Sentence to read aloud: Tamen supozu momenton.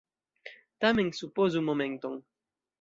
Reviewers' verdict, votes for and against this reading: accepted, 2, 1